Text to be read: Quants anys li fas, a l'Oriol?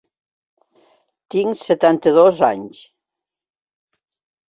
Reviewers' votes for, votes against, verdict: 0, 2, rejected